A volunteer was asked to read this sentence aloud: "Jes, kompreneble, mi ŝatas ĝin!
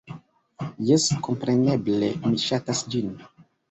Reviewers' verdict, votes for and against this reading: rejected, 1, 2